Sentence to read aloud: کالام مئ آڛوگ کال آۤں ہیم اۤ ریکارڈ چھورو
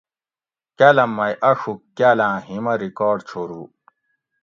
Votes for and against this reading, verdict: 2, 0, accepted